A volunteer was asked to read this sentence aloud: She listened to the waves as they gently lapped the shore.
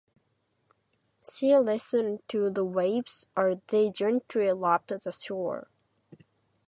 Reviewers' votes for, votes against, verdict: 2, 4, rejected